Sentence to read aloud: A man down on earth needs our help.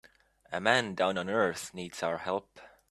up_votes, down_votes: 2, 0